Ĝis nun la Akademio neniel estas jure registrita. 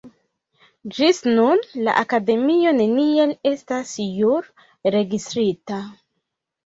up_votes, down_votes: 0, 2